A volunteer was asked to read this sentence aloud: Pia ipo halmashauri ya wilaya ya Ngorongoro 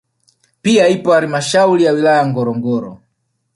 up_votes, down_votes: 2, 0